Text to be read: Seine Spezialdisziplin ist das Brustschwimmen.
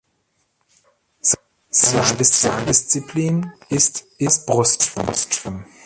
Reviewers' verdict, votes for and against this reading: rejected, 0, 2